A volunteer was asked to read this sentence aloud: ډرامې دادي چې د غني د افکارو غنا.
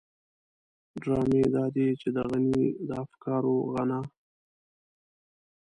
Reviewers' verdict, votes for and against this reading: rejected, 0, 2